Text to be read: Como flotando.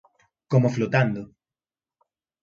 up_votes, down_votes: 2, 0